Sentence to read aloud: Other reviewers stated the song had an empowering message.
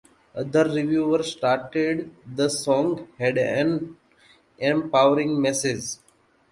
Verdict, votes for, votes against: rejected, 1, 2